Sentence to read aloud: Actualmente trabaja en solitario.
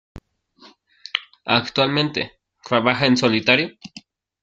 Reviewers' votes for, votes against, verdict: 0, 2, rejected